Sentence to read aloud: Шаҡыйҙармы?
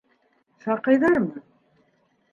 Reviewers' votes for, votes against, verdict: 2, 1, accepted